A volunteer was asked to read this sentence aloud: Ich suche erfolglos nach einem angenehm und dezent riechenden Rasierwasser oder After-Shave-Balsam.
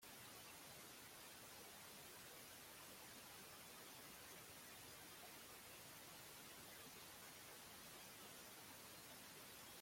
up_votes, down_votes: 0, 2